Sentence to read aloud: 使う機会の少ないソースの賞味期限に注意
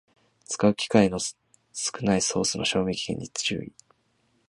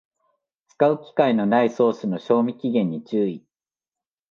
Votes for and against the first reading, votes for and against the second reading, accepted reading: 2, 0, 0, 2, first